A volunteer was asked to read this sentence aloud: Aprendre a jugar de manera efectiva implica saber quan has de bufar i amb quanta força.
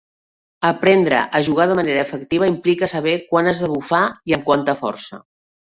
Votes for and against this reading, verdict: 2, 0, accepted